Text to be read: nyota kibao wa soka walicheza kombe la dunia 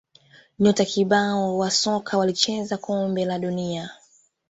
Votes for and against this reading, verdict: 2, 0, accepted